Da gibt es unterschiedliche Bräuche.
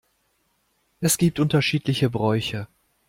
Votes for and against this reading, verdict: 0, 2, rejected